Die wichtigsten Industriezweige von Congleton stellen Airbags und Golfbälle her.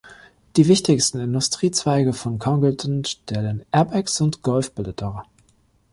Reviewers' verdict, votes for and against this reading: rejected, 0, 2